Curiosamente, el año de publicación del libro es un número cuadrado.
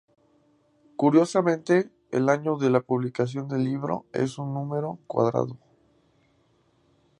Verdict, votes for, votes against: rejected, 0, 2